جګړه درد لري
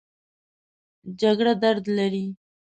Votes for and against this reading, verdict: 2, 0, accepted